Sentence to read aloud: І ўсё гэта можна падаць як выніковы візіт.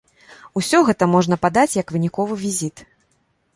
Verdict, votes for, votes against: rejected, 0, 2